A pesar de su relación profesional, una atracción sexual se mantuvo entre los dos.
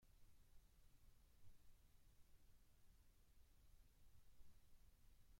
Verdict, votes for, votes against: rejected, 0, 2